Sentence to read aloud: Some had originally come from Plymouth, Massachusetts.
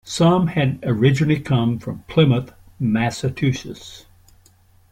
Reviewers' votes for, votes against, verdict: 0, 2, rejected